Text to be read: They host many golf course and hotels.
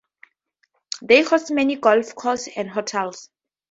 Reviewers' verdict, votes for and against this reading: accepted, 2, 0